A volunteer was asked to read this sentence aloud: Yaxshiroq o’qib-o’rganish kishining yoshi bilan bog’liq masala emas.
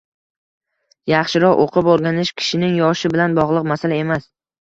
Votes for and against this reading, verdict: 1, 2, rejected